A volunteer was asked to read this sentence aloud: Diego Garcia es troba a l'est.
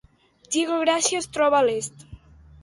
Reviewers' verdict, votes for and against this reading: rejected, 1, 2